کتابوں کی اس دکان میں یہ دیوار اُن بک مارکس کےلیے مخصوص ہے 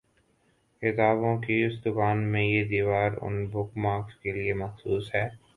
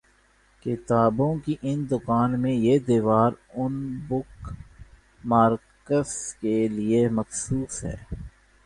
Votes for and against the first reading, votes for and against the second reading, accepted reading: 2, 0, 1, 2, first